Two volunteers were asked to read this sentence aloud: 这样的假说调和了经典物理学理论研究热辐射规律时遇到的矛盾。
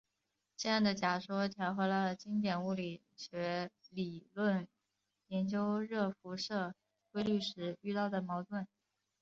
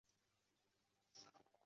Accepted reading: first